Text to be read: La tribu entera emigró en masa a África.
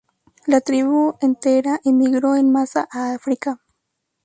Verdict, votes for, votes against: accepted, 2, 0